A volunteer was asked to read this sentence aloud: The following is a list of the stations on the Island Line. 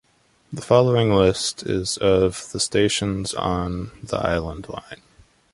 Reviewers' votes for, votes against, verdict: 2, 3, rejected